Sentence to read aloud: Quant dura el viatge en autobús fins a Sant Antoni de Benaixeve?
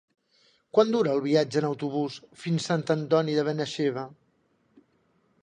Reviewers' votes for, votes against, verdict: 0, 2, rejected